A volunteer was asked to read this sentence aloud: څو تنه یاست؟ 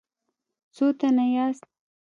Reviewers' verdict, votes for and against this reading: accepted, 2, 0